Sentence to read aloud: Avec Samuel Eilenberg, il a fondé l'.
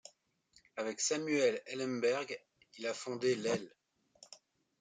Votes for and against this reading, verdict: 2, 1, accepted